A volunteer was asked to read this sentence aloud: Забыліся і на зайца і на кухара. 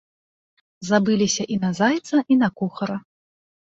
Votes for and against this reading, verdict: 2, 0, accepted